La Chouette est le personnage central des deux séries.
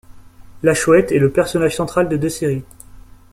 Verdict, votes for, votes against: rejected, 1, 2